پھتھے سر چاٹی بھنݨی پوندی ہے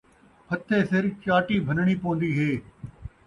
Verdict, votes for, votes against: accepted, 2, 0